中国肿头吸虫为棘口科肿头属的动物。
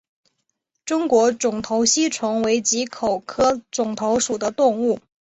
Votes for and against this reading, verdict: 4, 0, accepted